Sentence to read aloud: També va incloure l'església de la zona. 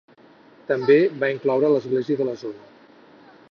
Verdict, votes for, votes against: accepted, 4, 0